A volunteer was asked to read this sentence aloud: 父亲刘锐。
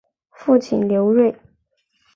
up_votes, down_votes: 4, 0